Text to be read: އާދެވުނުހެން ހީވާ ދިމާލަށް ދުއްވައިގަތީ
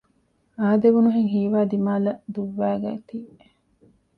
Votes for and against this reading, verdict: 1, 2, rejected